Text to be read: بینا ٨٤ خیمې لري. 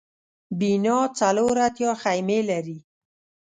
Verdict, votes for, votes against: rejected, 0, 2